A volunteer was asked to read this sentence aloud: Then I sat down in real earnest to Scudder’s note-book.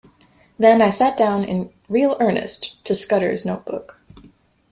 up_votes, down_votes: 2, 0